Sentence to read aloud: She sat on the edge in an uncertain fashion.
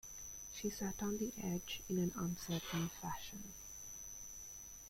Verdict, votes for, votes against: accepted, 2, 0